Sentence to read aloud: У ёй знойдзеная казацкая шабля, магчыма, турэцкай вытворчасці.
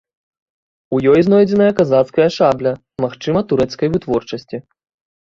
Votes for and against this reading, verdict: 2, 0, accepted